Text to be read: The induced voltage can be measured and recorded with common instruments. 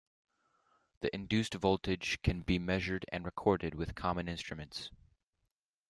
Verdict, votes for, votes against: accepted, 2, 0